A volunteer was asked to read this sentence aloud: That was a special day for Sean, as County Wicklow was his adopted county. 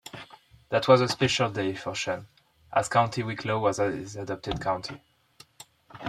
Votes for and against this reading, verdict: 2, 1, accepted